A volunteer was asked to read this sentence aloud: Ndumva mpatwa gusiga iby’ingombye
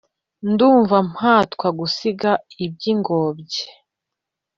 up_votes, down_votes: 2, 1